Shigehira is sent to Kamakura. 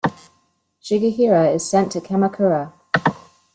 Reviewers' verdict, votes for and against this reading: accepted, 2, 0